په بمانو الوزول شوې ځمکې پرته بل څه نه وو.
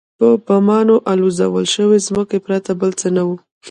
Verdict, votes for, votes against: rejected, 0, 2